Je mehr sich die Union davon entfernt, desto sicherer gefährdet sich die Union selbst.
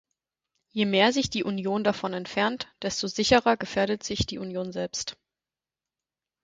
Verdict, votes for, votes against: accepted, 4, 0